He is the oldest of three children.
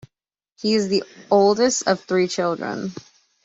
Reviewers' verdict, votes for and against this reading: accepted, 2, 0